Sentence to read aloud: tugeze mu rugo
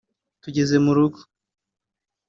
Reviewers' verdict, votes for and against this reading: accepted, 2, 0